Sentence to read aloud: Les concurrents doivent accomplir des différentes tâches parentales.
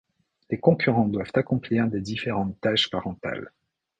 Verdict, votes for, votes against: accepted, 2, 0